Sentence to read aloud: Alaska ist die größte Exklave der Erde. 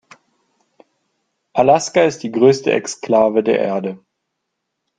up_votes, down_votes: 2, 0